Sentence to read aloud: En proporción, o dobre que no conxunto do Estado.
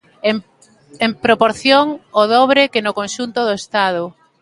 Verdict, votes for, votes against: rejected, 1, 2